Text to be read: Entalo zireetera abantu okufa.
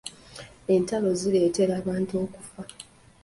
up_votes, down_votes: 2, 1